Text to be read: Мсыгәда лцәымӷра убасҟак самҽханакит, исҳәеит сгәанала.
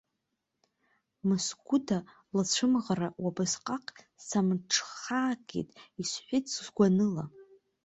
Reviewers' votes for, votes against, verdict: 0, 2, rejected